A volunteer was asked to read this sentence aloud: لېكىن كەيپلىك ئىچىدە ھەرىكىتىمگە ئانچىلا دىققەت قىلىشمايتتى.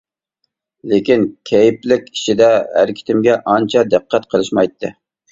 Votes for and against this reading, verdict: 0, 2, rejected